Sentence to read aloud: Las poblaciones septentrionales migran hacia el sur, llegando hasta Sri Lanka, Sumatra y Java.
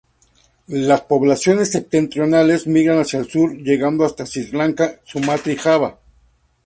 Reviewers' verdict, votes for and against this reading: accepted, 2, 0